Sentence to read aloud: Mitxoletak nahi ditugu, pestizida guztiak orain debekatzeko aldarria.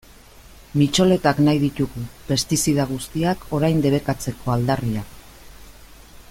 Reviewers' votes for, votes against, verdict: 2, 0, accepted